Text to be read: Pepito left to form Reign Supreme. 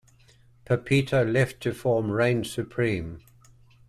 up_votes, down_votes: 2, 0